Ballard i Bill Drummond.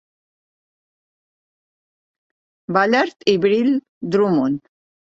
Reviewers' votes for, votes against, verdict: 1, 3, rejected